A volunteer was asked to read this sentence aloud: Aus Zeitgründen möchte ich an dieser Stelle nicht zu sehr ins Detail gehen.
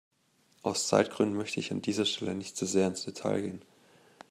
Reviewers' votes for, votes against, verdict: 1, 2, rejected